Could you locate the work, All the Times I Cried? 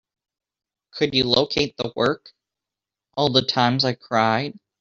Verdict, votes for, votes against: accepted, 2, 0